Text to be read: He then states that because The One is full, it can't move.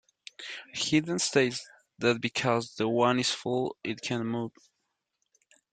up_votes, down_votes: 0, 2